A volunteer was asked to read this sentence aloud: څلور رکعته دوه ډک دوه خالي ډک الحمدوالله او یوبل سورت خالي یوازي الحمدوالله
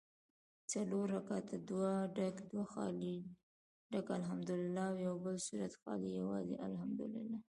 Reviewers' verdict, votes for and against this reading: rejected, 1, 2